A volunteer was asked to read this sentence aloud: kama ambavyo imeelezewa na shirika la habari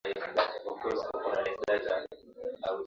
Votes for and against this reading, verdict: 0, 2, rejected